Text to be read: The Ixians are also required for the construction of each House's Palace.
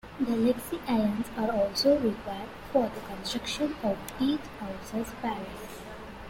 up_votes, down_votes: 0, 2